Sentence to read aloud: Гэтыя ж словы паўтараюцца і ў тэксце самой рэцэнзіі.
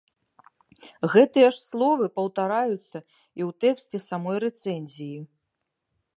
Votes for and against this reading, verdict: 2, 0, accepted